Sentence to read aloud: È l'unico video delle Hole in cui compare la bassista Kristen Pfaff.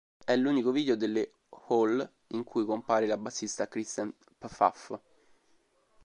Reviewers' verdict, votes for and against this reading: rejected, 0, 2